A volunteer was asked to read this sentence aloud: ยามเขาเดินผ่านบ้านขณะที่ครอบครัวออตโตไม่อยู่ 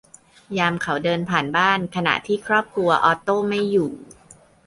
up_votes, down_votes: 2, 0